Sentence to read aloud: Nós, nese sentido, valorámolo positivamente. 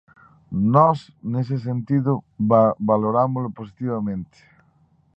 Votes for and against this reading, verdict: 0, 2, rejected